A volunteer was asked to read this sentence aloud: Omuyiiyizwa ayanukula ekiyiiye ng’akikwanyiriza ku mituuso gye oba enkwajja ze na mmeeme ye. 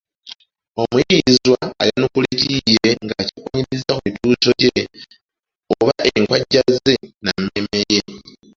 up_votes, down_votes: 0, 2